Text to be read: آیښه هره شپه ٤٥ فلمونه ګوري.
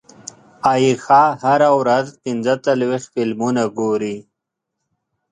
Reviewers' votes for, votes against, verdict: 0, 2, rejected